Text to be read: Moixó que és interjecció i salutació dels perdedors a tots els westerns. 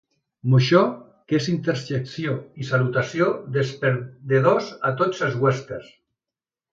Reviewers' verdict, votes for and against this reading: accepted, 2, 0